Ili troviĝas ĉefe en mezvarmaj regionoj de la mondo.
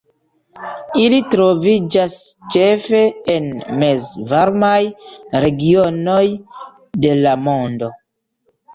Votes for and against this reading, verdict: 2, 0, accepted